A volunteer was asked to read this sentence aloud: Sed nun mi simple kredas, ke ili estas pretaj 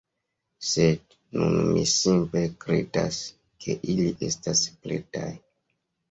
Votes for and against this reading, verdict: 1, 2, rejected